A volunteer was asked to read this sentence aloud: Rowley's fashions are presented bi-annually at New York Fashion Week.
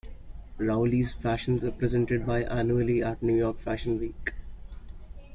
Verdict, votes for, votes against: rejected, 0, 2